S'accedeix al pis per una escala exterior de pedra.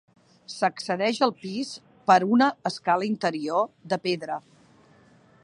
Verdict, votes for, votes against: rejected, 1, 2